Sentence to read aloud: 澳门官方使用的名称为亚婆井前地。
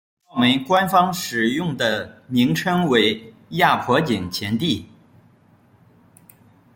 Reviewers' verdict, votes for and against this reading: rejected, 0, 2